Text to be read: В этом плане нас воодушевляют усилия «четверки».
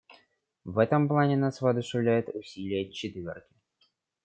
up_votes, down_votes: 2, 0